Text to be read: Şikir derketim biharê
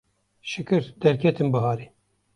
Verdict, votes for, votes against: accepted, 2, 0